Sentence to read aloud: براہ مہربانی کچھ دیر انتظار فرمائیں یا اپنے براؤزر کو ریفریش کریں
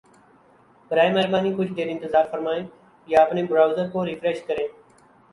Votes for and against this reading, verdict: 0, 2, rejected